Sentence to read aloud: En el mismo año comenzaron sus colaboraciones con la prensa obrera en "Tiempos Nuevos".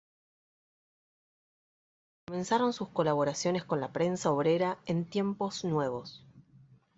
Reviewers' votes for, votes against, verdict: 1, 2, rejected